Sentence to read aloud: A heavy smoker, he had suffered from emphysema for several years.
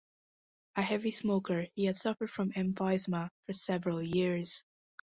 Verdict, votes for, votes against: rejected, 1, 2